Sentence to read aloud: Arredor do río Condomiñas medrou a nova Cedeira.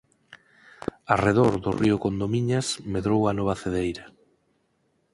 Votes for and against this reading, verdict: 2, 4, rejected